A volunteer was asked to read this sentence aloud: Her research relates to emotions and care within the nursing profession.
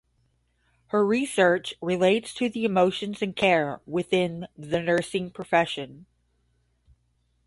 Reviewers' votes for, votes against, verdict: 0, 5, rejected